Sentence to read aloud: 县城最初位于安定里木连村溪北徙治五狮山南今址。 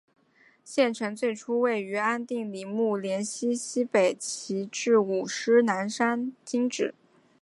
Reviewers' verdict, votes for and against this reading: rejected, 1, 2